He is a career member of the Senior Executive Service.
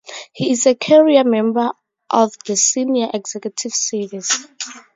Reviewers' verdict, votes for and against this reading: accepted, 2, 0